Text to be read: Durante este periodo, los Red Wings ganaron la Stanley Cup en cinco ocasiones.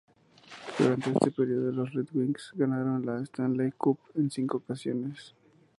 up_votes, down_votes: 0, 2